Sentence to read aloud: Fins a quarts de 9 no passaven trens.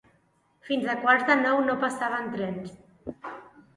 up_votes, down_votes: 0, 2